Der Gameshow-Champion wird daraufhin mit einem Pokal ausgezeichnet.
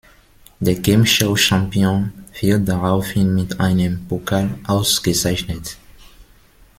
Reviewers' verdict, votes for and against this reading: rejected, 0, 2